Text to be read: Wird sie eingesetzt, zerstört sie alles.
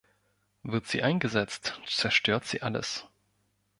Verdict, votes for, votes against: accepted, 2, 0